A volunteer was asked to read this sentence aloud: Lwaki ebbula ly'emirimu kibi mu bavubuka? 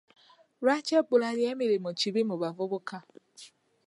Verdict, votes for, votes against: accepted, 2, 0